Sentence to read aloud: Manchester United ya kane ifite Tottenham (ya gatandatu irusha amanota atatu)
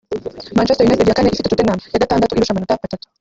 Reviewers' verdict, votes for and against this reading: rejected, 1, 2